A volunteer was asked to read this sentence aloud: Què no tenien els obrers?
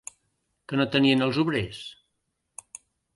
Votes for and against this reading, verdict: 0, 2, rejected